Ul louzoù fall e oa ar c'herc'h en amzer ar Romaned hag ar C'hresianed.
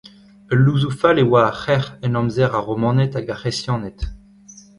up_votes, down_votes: 2, 1